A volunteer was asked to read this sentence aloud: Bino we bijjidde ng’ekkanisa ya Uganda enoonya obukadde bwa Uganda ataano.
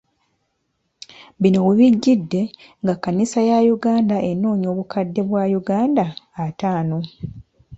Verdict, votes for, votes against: accepted, 2, 0